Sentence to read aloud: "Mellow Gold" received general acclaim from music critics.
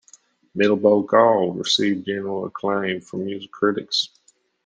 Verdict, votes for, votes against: accepted, 2, 0